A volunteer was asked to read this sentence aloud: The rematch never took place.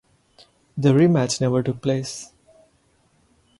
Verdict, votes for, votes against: accepted, 2, 0